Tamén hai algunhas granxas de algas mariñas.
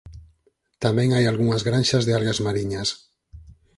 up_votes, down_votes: 4, 0